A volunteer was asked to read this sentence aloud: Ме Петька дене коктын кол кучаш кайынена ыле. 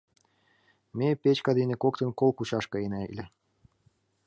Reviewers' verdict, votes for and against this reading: accepted, 3, 1